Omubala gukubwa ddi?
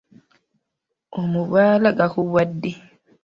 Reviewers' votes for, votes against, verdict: 0, 2, rejected